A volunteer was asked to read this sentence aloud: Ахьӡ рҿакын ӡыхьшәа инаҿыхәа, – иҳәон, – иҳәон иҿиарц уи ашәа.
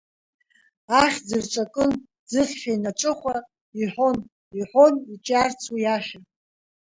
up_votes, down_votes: 1, 2